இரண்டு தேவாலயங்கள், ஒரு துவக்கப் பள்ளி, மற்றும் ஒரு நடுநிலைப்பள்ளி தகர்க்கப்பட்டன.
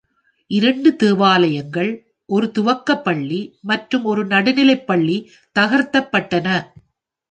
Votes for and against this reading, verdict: 1, 2, rejected